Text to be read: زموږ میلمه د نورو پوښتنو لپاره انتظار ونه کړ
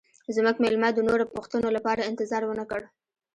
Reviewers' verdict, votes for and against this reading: rejected, 0, 2